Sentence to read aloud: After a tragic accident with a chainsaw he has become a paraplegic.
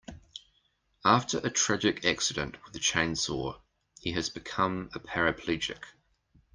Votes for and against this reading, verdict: 2, 0, accepted